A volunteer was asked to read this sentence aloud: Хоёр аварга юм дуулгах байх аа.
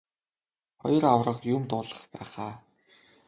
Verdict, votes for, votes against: rejected, 1, 2